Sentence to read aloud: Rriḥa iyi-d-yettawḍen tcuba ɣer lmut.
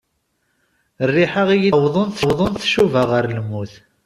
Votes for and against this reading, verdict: 0, 2, rejected